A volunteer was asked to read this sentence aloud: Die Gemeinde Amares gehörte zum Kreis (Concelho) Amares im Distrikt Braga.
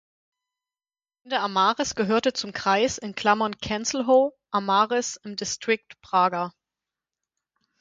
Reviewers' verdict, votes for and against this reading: rejected, 0, 4